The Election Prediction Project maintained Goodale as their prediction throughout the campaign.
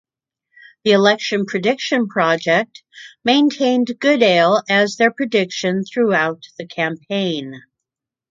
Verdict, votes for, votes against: accepted, 2, 0